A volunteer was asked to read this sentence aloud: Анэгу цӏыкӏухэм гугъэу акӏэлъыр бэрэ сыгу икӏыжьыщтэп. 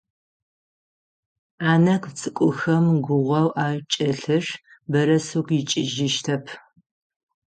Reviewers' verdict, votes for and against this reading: rejected, 3, 3